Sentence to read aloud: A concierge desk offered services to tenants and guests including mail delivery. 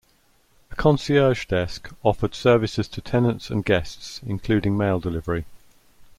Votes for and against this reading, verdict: 2, 0, accepted